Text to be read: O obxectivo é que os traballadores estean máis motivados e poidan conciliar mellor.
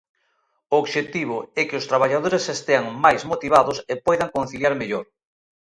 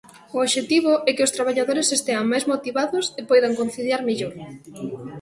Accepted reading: first